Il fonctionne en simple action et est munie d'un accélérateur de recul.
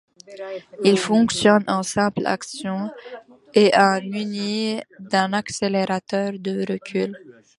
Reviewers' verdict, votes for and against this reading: rejected, 0, 2